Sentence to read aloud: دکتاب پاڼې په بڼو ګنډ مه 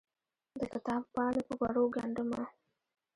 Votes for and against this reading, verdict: 0, 2, rejected